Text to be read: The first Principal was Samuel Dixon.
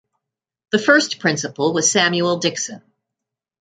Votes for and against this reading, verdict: 2, 0, accepted